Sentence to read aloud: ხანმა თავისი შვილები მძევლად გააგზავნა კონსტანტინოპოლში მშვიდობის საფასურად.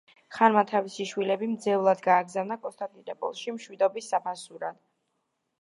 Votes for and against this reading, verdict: 2, 0, accepted